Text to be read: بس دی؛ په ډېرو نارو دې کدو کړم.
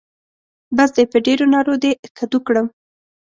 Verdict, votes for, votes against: accepted, 2, 0